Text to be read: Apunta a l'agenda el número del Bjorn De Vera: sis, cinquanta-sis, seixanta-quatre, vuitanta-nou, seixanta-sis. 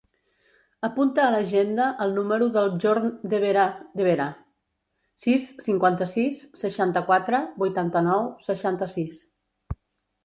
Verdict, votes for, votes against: rejected, 0, 2